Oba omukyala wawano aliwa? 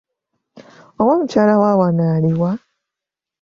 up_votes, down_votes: 2, 0